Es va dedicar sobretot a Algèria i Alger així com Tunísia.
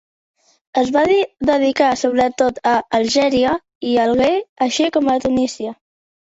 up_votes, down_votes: 1, 2